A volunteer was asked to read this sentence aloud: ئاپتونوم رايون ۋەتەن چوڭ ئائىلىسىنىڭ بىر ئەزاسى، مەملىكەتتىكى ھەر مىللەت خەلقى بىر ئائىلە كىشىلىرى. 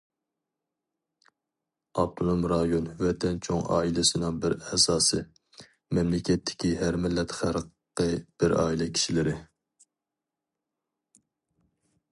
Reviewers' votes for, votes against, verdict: 2, 0, accepted